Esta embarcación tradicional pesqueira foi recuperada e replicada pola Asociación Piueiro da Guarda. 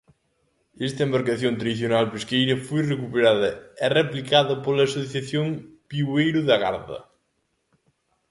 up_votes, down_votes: 0, 2